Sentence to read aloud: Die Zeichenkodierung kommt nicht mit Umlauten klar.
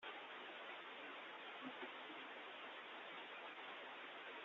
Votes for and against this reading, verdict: 0, 2, rejected